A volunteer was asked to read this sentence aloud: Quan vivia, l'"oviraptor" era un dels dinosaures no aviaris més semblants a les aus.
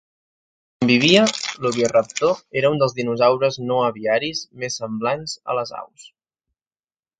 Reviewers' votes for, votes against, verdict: 0, 2, rejected